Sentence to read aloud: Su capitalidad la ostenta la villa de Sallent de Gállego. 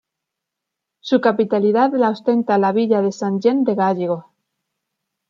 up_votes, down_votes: 0, 2